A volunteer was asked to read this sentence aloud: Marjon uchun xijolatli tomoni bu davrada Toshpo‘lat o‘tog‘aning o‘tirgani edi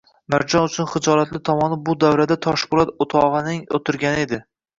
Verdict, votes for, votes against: rejected, 1, 2